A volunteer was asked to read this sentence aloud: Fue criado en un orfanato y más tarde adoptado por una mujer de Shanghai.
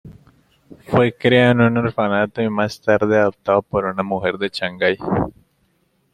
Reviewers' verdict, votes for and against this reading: rejected, 0, 2